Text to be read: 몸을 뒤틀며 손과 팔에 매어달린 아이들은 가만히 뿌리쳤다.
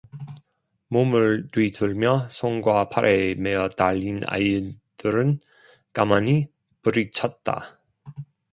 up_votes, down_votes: 2, 1